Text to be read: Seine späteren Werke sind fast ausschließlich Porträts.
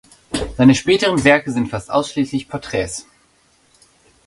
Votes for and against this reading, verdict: 2, 0, accepted